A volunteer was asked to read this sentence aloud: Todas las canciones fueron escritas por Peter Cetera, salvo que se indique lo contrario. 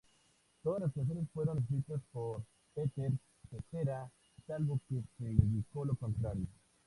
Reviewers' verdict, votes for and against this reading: rejected, 0, 2